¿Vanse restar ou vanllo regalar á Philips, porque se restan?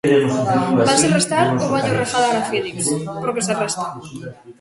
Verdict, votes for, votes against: rejected, 0, 2